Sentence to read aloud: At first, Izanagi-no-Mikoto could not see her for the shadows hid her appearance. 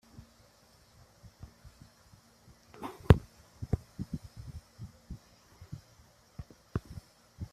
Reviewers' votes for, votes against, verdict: 0, 2, rejected